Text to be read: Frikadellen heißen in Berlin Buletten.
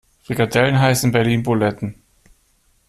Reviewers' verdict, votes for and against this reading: accepted, 2, 0